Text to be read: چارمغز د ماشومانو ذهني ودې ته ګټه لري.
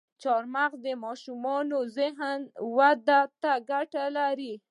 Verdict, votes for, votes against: accepted, 2, 0